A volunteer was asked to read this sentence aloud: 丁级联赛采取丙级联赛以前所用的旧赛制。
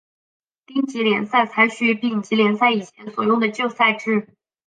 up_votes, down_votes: 4, 0